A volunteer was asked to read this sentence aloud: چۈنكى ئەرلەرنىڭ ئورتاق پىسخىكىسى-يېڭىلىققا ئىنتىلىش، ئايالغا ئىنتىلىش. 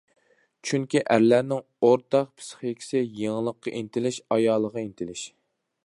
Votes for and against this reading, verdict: 2, 1, accepted